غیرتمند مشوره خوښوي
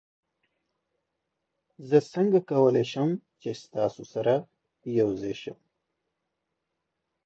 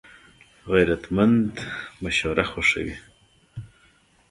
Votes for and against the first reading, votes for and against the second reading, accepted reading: 1, 2, 2, 1, second